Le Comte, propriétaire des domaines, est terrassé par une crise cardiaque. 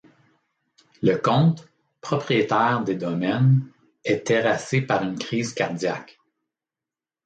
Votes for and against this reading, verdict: 2, 0, accepted